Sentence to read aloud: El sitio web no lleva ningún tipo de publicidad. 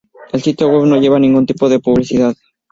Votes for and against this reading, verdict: 2, 0, accepted